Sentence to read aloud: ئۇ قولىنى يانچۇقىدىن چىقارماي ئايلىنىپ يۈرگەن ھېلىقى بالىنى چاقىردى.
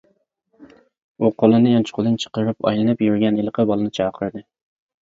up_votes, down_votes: 0, 2